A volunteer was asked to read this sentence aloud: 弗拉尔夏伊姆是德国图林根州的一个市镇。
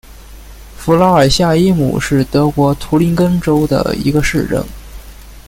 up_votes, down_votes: 2, 0